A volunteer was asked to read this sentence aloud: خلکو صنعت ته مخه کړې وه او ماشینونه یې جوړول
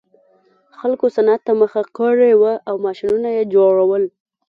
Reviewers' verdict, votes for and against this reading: rejected, 0, 2